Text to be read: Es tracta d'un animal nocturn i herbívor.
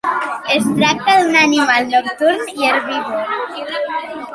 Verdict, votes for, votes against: rejected, 1, 2